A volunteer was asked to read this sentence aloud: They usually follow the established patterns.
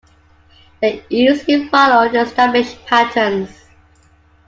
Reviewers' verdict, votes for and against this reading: rejected, 0, 2